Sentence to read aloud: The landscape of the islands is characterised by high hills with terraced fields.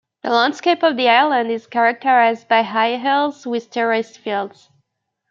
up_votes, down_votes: 0, 2